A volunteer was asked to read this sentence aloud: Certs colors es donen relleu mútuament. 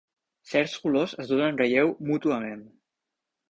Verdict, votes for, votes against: accepted, 2, 0